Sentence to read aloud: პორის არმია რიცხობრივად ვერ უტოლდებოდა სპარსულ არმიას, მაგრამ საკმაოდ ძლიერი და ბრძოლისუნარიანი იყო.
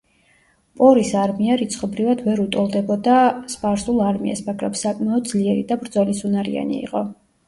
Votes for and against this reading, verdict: 0, 2, rejected